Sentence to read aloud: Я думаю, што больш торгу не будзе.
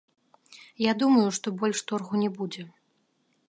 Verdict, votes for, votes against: rejected, 1, 2